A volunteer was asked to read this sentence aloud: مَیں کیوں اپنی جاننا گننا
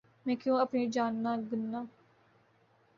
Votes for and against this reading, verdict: 2, 0, accepted